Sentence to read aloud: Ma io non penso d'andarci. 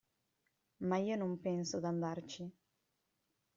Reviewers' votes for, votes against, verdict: 2, 0, accepted